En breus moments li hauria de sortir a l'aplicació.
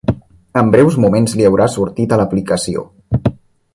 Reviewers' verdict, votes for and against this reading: rejected, 0, 2